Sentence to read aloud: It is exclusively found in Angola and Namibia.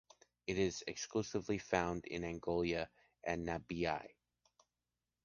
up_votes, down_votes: 0, 2